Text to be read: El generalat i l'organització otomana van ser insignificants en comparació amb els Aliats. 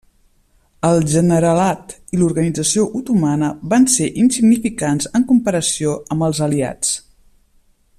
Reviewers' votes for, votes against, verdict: 3, 0, accepted